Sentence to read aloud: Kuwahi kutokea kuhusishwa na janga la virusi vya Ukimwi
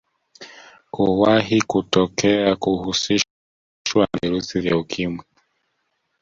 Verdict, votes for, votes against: rejected, 0, 2